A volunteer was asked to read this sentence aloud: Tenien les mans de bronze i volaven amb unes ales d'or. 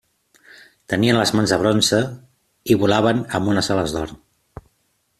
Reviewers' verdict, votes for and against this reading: accepted, 2, 0